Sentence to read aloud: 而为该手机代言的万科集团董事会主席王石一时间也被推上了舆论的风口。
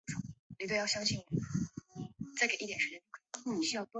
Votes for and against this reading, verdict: 1, 4, rejected